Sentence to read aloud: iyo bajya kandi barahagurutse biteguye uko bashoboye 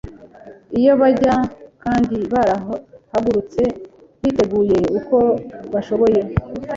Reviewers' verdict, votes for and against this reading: rejected, 1, 2